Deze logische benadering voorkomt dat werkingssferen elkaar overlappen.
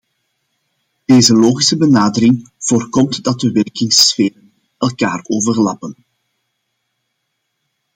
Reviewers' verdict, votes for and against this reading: rejected, 0, 2